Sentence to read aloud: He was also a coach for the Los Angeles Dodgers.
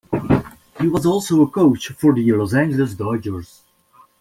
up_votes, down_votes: 2, 0